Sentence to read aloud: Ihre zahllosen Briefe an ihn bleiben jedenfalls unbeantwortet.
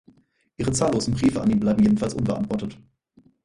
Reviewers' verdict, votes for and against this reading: accepted, 4, 0